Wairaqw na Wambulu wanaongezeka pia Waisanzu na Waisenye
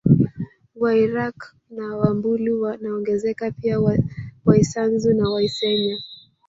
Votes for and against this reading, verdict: 2, 3, rejected